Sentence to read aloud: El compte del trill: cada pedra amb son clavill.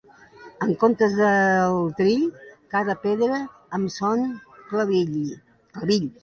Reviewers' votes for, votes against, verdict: 2, 1, accepted